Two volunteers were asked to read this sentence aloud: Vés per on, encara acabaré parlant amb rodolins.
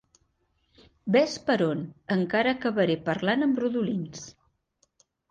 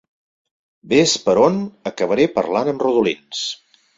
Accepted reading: first